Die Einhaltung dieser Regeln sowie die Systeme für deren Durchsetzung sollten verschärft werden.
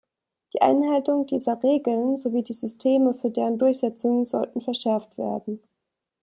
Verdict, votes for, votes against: accepted, 2, 0